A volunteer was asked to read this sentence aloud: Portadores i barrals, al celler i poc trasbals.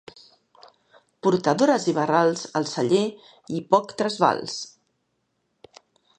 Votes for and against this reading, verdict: 2, 0, accepted